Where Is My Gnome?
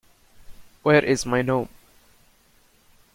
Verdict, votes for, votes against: rejected, 0, 3